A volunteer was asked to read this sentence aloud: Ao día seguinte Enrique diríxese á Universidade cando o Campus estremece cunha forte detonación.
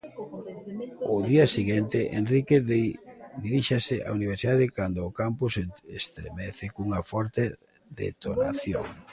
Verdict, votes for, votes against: rejected, 0, 2